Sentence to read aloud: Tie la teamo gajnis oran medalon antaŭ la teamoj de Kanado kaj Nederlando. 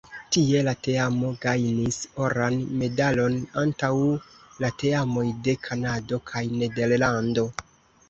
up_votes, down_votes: 0, 2